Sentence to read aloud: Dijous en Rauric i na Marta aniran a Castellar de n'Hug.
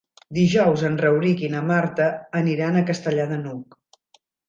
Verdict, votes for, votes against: accepted, 2, 0